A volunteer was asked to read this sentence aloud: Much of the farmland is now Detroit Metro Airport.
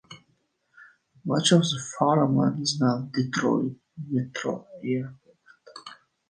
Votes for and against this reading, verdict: 0, 2, rejected